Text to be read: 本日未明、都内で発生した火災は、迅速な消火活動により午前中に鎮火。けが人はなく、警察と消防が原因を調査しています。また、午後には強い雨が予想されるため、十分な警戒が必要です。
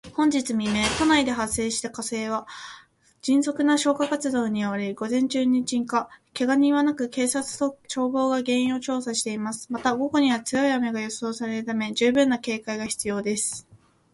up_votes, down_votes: 1, 2